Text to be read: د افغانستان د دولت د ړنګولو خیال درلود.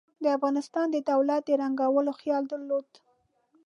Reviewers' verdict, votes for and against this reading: accepted, 2, 1